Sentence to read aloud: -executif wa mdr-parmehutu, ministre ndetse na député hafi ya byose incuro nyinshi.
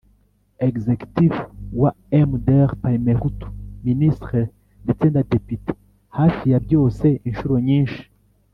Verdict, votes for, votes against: accepted, 2, 0